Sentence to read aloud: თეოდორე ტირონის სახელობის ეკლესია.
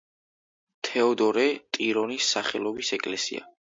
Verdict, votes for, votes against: accepted, 2, 0